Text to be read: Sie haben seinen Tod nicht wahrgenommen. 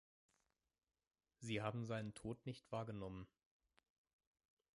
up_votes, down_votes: 1, 2